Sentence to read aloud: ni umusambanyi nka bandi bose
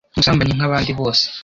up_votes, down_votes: 1, 2